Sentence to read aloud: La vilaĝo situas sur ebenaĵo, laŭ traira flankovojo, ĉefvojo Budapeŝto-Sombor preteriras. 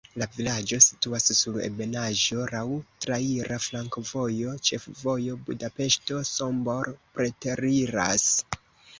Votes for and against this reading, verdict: 0, 2, rejected